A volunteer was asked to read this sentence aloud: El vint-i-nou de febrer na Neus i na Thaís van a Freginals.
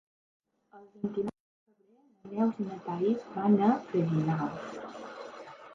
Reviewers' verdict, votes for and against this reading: rejected, 0, 2